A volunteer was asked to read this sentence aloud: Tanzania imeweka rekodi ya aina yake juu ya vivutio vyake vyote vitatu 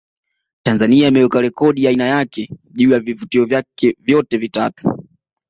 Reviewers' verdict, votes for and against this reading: accepted, 2, 0